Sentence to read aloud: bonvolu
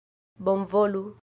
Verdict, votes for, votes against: accepted, 2, 0